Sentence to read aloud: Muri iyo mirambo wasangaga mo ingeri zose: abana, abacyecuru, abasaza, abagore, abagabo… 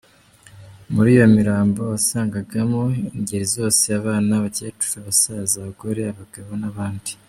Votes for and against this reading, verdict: 3, 1, accepted